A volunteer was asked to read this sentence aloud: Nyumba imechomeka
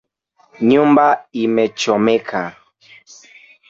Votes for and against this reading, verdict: 1, 2, rejected